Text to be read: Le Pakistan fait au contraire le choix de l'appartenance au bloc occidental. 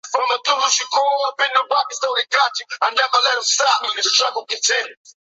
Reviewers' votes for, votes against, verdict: 0, 2, rejected